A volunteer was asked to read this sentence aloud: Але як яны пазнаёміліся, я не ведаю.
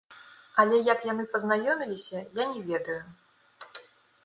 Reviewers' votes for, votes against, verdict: 2, 0, accepted